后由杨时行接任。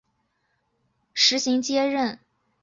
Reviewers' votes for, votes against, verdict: 1, 2, rejected